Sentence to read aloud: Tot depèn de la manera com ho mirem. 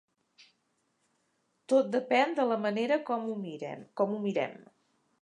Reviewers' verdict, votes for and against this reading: rejected, 0, 2